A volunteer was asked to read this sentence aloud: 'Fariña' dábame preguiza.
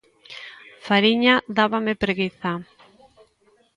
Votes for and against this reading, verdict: 2, 0, accepted